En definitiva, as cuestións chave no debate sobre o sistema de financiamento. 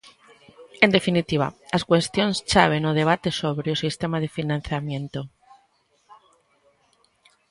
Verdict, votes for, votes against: rejected, 0, 2